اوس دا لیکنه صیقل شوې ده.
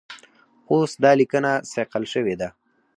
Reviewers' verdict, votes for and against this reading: rejected, 2, 4